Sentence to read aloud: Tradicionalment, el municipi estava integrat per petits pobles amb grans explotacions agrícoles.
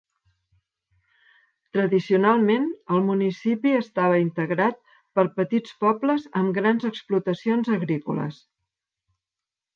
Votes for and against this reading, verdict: 2, 0, accepted